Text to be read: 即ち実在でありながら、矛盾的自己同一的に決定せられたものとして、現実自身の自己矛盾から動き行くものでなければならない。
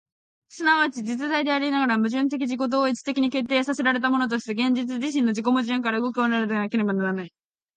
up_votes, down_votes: 0, 4